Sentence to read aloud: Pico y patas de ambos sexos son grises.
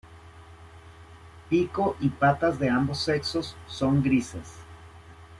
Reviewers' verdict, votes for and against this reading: accepted, 2, 0